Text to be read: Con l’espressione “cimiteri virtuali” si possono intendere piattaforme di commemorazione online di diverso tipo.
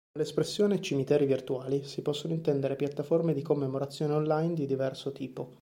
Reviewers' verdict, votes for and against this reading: rejected, 1, 2